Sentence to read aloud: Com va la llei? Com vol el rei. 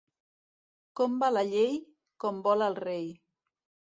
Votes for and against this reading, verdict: 2, 0, accepted